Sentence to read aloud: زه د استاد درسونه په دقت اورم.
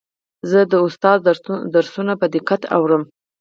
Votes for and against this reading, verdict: 4, 0, accepted